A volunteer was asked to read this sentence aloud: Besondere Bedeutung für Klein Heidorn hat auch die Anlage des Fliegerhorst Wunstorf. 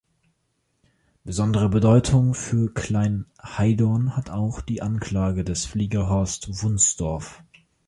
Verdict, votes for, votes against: rejected, 0, 2